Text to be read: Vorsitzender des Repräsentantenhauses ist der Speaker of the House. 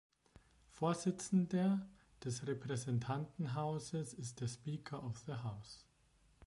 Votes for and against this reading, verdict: 1, 2, rejected